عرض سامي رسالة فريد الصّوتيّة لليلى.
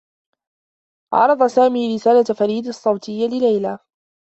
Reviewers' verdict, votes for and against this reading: accepted, 2, 0